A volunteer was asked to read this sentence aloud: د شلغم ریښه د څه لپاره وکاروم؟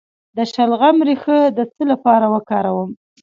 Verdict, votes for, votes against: rejected, 0, 2